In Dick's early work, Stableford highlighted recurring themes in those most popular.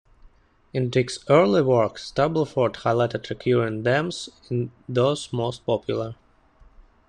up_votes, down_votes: 0, 2